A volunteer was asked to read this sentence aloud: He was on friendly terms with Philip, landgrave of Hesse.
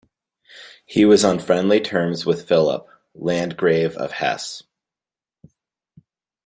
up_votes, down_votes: 2, 0